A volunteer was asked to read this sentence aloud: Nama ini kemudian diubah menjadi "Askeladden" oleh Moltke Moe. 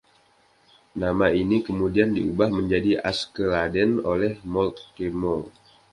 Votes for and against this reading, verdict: 2, 0, accepted